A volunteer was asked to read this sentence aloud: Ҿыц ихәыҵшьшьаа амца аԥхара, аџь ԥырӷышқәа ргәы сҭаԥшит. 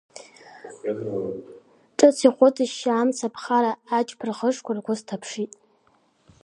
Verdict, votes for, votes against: accepted, 2, 0